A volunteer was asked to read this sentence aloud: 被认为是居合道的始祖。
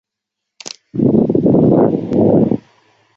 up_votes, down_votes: 1, 2